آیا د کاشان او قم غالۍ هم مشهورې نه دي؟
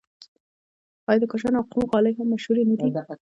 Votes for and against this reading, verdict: 0, 2, rejected